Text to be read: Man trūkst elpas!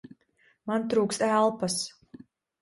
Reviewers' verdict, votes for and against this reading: accepted, 2, 0